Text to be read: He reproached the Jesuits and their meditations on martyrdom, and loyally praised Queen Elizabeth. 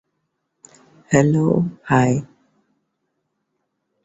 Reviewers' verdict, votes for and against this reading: rejected, 0, 2